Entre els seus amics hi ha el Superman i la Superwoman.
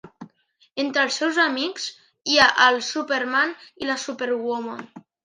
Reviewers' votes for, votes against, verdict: 0, 2, rejected